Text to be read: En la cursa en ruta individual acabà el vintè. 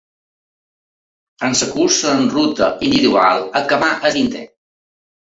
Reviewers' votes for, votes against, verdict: 1, 2, rejected